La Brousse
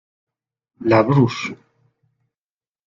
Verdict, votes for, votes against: rejected, 0, 2